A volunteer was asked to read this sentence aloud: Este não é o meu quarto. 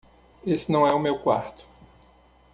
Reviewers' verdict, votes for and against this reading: rejected, 1, 2